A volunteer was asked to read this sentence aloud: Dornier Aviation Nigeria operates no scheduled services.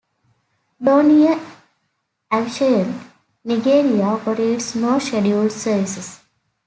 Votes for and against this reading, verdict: 0, 3, rejected